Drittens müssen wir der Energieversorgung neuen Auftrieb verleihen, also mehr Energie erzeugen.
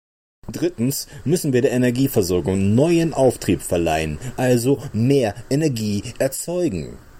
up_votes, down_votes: 2, 0